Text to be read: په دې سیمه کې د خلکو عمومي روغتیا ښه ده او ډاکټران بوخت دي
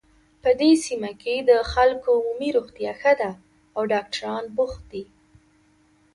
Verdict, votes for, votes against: accepted, 2, 1